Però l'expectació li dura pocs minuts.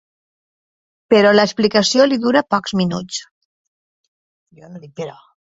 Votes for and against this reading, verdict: 0, 2, rejected